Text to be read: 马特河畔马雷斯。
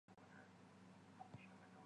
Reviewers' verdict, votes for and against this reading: rejected, 1, 2